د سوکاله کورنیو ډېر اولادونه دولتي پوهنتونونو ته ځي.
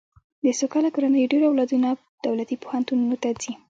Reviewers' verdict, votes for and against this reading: rejected, 1, 2